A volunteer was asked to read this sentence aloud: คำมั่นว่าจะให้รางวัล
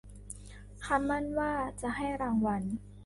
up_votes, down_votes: 2, 0